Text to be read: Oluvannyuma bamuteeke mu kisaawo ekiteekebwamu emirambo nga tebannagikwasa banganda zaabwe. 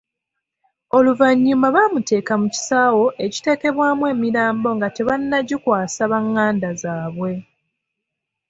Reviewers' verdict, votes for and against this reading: accepted, 2, 0